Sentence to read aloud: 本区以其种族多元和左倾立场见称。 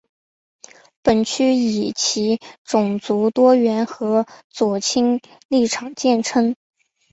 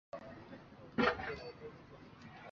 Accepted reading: first